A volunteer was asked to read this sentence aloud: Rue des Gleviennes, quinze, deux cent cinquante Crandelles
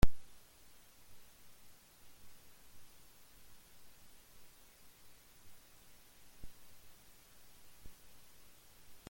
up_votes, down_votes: 0, 2